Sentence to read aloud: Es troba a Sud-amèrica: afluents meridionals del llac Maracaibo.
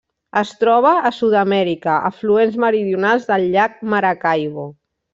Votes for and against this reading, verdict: 0, 2, rejected